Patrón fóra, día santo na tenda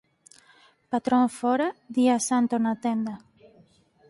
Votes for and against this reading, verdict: 2, 4, rejected